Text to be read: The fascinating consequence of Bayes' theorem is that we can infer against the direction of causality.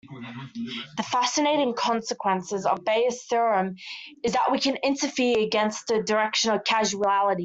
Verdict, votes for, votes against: rejected, 0, 2